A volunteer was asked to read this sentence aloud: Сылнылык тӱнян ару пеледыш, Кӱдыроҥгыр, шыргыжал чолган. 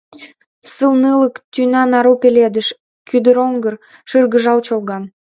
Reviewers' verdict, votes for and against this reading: rejected, 1, 2